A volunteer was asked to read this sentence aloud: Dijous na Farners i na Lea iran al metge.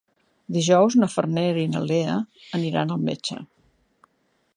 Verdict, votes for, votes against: rejected, 0, 2